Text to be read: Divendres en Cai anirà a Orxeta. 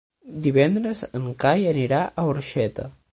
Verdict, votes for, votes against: accepted, 9, 0